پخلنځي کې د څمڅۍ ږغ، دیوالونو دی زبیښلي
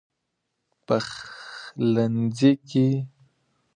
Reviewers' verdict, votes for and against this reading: accepted, 2, 0